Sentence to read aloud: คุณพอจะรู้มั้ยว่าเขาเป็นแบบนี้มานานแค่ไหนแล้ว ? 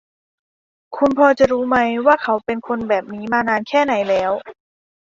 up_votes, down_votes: 1, 2